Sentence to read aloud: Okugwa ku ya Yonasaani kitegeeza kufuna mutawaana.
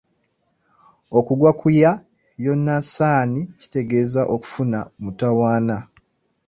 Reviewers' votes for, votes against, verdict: 2, 0, accepted